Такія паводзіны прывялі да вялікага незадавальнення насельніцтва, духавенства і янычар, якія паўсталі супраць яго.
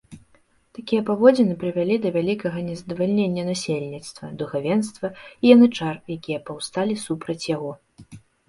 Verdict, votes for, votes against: accepted, 2, 0